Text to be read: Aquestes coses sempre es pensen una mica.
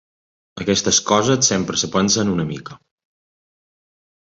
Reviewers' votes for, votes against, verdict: 1, 3, rejected